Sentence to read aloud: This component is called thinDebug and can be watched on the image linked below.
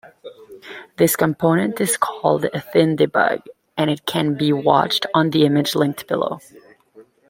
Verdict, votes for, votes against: accepted, 2, 0